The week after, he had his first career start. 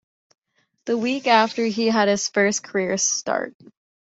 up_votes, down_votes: 2, 0